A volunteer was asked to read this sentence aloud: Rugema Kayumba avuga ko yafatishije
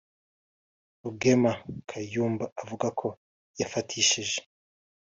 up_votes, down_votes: 0, 2